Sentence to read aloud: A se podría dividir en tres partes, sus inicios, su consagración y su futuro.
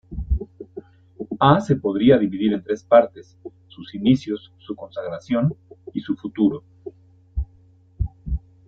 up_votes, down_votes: 2, 0